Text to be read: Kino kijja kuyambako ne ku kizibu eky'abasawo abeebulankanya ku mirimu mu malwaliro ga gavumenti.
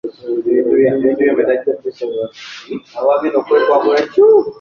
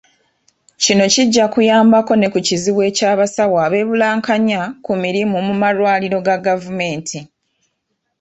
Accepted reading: second